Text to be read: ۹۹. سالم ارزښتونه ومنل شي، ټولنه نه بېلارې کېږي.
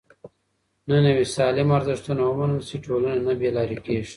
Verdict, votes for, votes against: rejected, 0, 2